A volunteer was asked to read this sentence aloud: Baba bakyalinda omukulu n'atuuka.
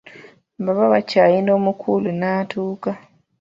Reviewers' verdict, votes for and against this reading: rejected, 0, 2